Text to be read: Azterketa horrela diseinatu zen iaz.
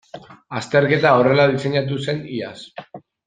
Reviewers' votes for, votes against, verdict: 0, 2, rejected